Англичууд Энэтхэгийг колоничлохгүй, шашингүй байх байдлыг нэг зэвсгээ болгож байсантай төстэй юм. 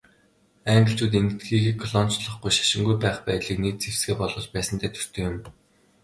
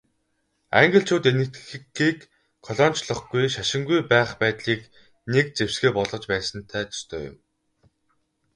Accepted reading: first